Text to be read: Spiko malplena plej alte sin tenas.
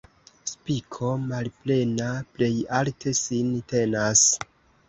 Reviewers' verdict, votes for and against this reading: accepted, 2, 0